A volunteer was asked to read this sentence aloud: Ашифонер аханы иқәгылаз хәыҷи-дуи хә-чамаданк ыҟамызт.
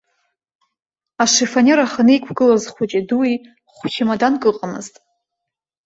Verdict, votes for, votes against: accepted, 2, 0